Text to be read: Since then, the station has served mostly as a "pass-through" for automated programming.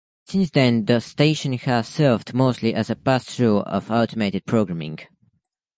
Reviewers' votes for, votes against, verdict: 1, 2, rejected